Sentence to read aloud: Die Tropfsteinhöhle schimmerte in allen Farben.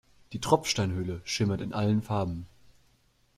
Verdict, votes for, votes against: rejected, 0, 2